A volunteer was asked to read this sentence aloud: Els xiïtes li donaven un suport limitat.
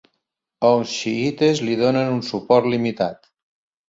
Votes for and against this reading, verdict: 0, 2, rejected